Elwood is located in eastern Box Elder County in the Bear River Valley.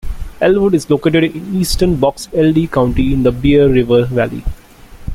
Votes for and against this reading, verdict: 1, 2, rejected